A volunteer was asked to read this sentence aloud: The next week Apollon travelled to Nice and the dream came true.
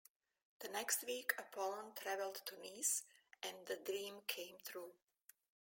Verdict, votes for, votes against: rejected, 1, 2